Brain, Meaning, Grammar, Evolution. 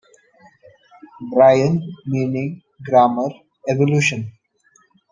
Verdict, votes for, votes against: accepted, 2, 0